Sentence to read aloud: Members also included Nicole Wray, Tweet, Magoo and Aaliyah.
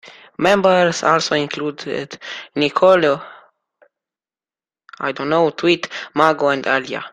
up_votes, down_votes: 0, 2